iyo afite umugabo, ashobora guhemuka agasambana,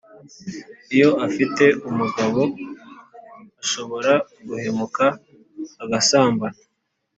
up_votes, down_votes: 3, 0